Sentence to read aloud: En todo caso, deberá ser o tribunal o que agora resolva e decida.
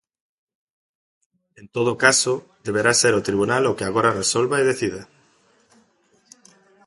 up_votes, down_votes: 2, 0